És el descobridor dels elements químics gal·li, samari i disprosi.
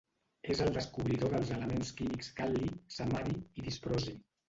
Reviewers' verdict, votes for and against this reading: rejected, 0, 2